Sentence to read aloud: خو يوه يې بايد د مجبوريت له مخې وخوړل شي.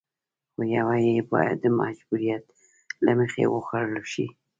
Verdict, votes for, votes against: accepted, 2, 0